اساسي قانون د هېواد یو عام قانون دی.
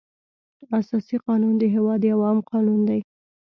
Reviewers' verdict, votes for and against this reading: accepted, 2, 0